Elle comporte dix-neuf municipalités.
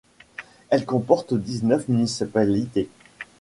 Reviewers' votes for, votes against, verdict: 1, 2, rejected